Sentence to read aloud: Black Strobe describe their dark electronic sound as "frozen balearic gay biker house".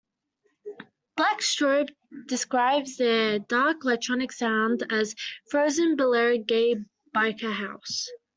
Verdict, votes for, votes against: accepted, 2, 0